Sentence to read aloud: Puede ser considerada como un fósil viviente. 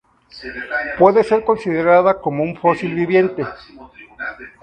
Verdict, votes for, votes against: accepted, 2, 0